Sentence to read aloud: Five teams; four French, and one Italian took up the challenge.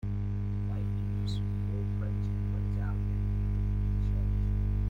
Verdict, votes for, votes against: rejected, 0, 2